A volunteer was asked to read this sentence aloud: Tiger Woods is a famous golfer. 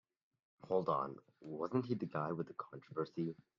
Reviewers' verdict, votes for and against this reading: rejected, 0, 2